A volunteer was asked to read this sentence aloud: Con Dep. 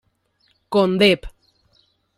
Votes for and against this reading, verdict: 2, 0, accepted